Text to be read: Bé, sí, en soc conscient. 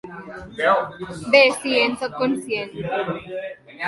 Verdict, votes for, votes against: rejected, 1, 2